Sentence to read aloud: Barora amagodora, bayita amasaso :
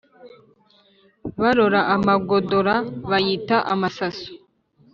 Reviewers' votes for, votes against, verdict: 2, 0, accepted